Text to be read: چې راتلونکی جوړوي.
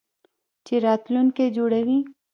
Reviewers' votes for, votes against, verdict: 0, 2, rejected